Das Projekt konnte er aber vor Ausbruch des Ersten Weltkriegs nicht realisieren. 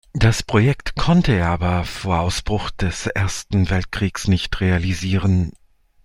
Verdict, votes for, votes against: accepted, 2, 0